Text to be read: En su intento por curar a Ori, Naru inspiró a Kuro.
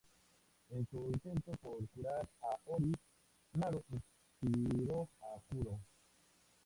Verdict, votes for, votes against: accepted, 2, 0